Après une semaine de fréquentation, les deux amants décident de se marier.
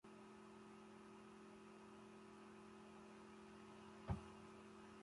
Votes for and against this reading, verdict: 0, 2, rejected